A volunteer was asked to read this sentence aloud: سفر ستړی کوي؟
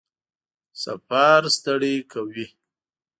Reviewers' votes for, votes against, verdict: 3, 0, accepted